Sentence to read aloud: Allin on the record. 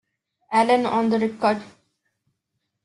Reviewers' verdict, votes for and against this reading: accepted, 2, 0